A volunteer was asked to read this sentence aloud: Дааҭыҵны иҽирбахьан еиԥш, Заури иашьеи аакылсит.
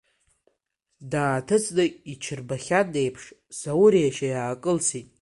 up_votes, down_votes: 2, 1